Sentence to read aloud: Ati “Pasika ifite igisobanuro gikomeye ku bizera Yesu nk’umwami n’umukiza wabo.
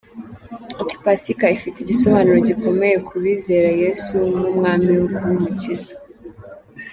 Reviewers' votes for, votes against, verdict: 0, 2, rejected